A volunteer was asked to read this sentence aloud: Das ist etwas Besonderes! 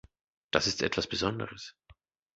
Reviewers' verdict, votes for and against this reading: accepted, 2, 0